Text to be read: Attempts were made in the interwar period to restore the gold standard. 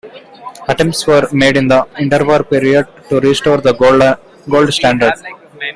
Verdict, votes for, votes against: rejected, 1, 2